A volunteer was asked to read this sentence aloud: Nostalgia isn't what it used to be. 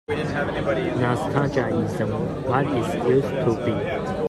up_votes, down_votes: 1, 2